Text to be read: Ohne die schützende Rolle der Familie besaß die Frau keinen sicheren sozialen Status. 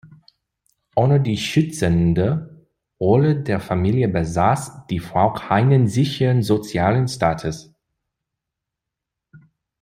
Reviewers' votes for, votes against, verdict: 2, 1, accepted